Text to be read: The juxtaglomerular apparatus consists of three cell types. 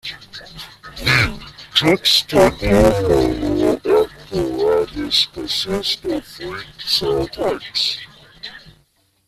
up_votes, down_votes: 0, 2